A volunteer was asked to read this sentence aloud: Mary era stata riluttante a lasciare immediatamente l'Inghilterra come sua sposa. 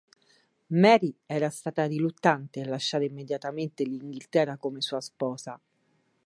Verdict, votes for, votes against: accepted, 4, 0